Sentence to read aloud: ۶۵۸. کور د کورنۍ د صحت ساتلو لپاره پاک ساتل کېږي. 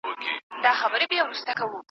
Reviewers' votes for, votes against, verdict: 0, 2, rejected